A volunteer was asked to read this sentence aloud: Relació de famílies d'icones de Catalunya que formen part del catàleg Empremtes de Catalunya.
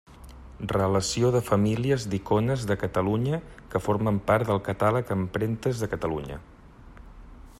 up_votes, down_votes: 2, 0